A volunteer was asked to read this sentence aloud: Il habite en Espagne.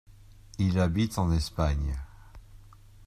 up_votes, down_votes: 2, 0